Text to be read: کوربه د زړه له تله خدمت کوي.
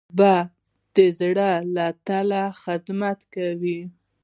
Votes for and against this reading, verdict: 1, 2, rejected